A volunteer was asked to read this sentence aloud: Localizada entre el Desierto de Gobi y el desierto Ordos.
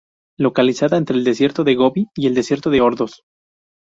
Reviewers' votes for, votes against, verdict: 0, 2, rejected